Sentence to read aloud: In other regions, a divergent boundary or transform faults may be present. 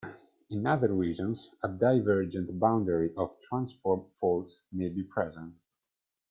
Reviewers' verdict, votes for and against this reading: rejected, 1, 2